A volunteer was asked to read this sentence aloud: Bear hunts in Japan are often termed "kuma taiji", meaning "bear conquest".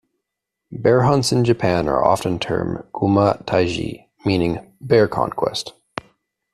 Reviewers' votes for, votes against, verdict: 2, 0, accepted